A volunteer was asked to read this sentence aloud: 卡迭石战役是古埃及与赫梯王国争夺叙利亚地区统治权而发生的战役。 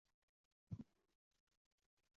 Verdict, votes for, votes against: rejected, 0, 3